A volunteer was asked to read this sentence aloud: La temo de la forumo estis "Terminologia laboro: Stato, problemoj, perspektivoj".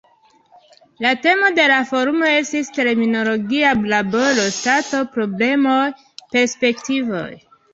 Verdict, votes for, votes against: rejected, 1, 2